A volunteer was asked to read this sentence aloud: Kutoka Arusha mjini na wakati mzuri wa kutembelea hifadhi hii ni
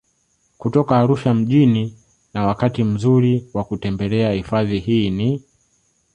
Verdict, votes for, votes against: accepted, 2, 1